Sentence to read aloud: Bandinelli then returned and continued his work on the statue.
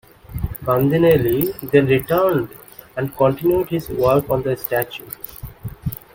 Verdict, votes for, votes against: accepted, 2, 0